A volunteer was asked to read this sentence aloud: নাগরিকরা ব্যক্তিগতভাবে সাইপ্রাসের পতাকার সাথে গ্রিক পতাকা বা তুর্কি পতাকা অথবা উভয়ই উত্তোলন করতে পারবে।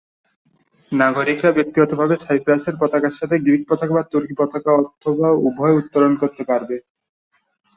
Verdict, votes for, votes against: accepted, 13, 0